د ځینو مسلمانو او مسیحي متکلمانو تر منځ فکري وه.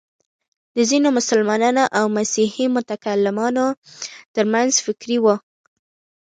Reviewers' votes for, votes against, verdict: 2, 1, accepted